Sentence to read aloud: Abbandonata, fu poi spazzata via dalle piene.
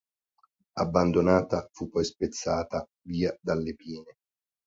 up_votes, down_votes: 1, 2